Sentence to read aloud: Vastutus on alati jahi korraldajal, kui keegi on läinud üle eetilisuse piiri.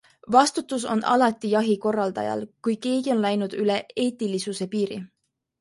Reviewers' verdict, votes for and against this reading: accepted, 2, 0